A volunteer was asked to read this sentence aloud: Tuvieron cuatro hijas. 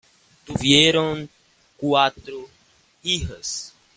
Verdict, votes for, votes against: accepted, 2, 1